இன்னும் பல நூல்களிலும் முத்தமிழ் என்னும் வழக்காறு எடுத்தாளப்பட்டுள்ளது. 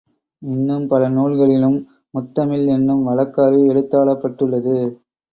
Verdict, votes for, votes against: rejected, 1, 2